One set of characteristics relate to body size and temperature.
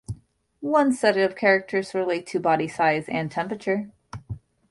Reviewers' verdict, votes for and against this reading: rejected, 1, 2